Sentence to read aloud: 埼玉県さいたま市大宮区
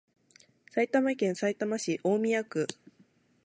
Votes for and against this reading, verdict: 4, 0, accepted